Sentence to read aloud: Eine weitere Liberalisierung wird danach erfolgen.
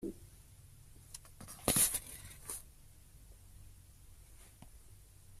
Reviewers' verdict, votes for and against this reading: rejected, 0, 2